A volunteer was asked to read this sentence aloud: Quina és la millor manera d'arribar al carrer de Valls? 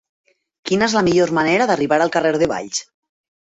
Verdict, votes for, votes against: accepted, 3, 0